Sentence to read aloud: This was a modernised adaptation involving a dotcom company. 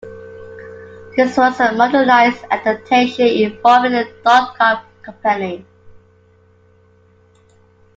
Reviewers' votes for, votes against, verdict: 2, 1, accepted